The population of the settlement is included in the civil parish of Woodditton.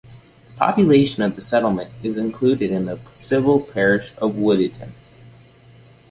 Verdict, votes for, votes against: accepted, 2, 0